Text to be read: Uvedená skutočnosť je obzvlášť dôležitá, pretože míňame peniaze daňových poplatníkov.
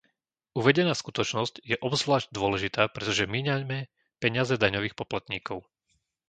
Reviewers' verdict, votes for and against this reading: rejected, 1, 2